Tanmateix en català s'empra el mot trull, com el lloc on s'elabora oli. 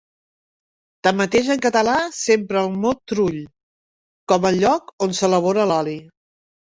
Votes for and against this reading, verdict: 2, 1, accepted